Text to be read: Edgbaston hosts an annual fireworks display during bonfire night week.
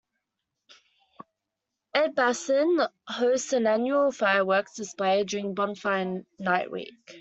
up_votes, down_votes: 1, 2